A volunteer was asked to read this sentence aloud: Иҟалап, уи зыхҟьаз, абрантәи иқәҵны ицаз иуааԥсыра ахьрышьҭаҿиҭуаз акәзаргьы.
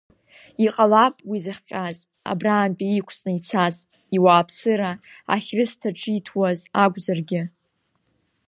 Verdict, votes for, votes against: accepted, 3, 0